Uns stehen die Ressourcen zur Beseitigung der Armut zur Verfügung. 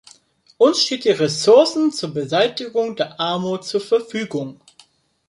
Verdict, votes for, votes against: rejected, 0, 2